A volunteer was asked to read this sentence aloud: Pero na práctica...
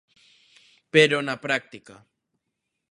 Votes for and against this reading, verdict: 2, 0, accepted